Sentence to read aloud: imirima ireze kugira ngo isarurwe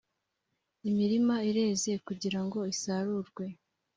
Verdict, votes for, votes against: accepted, 3, 0